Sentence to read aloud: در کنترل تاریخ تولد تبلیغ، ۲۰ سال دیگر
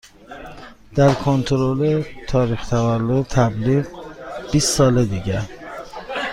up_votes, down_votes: 0, 2